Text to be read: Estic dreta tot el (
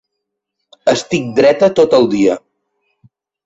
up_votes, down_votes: 0, 2